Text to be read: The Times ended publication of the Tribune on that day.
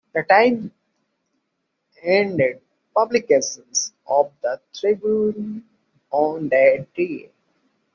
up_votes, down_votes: 0, 2